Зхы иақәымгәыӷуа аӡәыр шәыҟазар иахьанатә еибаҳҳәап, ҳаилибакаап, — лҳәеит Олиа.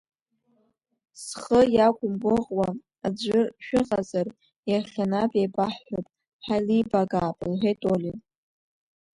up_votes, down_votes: 2, 0